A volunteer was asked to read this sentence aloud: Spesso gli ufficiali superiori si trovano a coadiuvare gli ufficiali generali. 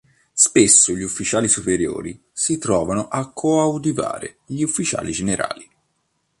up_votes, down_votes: 1, 2